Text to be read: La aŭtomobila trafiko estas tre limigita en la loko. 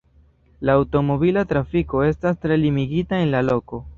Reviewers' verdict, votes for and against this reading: rejected, 1, 2